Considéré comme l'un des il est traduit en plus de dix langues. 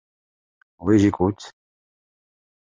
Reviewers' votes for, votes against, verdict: 0, 2, rejected